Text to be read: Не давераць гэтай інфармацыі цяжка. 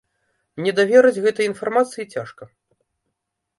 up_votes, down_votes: 0, 2